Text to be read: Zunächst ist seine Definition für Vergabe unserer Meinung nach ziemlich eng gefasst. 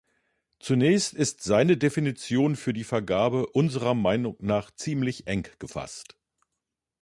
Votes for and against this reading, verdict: 1, 2, rejected